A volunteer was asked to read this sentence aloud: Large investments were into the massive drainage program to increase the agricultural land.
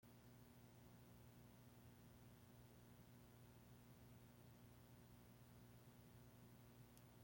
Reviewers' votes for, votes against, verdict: 0, 2, rejected